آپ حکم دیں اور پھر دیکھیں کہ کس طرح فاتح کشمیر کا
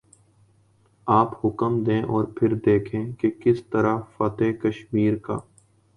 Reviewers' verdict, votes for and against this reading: accepted, 2, 0